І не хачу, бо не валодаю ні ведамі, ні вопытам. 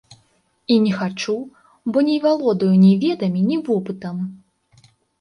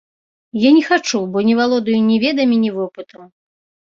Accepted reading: first